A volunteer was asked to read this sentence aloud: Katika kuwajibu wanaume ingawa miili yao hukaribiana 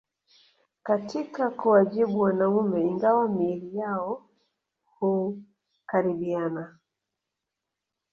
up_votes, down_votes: 1, 2